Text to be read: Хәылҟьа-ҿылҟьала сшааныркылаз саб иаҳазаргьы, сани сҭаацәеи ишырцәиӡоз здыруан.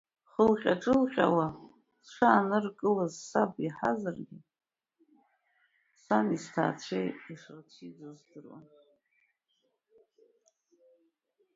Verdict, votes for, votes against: accepted, 2, 0